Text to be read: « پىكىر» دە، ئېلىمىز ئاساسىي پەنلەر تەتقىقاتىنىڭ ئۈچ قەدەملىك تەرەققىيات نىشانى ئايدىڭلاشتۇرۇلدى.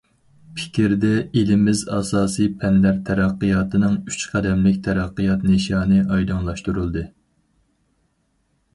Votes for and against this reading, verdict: 2, 2, rejected